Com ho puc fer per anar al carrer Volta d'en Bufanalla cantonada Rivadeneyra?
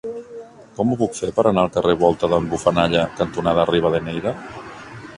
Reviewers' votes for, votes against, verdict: 0, 2, rejected